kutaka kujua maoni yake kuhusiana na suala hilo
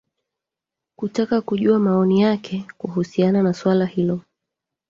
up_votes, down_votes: 2, 3